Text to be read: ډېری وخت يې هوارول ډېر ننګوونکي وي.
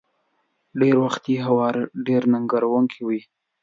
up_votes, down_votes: 2, 0